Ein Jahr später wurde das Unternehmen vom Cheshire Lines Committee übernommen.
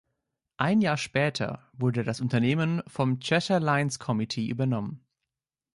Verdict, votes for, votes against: accepted, 3, 0